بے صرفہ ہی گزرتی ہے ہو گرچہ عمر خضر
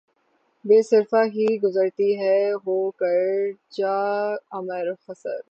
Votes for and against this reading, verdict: 3, 3, rejected